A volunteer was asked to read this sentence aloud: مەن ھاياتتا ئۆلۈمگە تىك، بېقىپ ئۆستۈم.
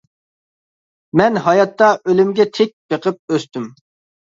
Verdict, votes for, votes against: accepted, 2, 0